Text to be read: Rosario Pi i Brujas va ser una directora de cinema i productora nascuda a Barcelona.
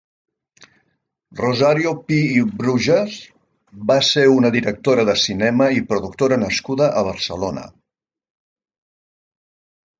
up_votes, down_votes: 2, 0